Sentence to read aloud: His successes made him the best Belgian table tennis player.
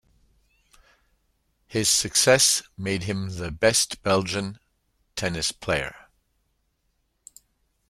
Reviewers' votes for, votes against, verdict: 0, 2, rejected